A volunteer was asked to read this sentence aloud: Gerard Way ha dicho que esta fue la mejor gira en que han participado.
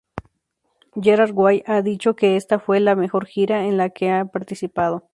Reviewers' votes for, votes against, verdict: 0, 2, rejected